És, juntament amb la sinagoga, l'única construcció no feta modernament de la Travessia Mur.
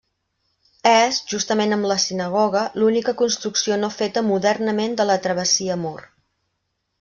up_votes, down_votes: 1, 2